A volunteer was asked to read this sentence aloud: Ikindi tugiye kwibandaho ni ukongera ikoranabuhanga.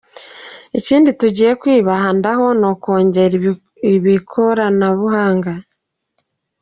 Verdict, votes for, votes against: rejected, 0, 2